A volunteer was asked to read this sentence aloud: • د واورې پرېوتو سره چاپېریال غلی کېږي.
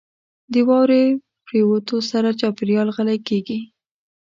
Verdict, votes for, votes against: accepted, 2, 0